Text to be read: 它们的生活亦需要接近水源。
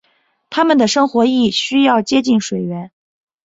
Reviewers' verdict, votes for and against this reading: accepted, 4, 0